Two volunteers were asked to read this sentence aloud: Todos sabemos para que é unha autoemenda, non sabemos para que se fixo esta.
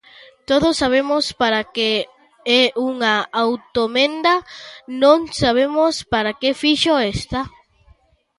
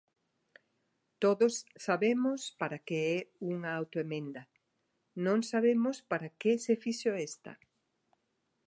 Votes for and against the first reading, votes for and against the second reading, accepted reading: 0, 2, 2, 0, second